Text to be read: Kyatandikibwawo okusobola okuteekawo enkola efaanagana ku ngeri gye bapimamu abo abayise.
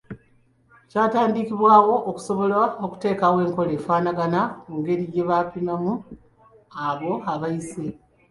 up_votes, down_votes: 2, 0